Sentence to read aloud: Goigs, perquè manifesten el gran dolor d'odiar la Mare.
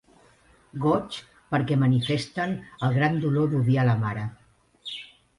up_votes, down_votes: 2, 0